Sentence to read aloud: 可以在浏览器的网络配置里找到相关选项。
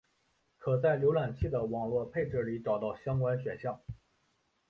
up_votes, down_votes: 2, 0